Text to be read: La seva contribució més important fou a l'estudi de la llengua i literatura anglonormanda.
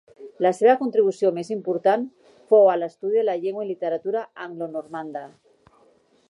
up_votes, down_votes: 1, 2